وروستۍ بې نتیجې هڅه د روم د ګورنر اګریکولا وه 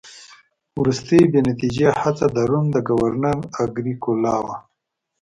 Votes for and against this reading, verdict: 2, 0, accepted